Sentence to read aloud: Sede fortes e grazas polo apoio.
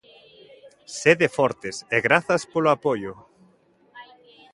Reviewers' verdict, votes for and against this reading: accepted, 2, 1